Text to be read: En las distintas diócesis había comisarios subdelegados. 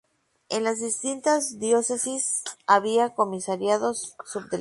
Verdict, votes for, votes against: rejected, 0, 4